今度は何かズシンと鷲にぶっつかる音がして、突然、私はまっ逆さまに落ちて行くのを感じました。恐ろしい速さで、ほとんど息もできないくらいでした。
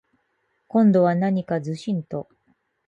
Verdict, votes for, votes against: rejected, 0, 4